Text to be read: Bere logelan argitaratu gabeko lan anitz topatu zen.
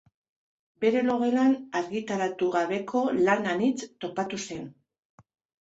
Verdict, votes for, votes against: accepted, 2, 1